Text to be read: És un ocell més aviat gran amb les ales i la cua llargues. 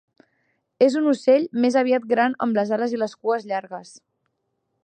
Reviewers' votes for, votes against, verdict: 2, 3, rejected